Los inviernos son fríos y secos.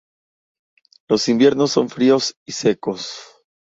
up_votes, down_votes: 2, 0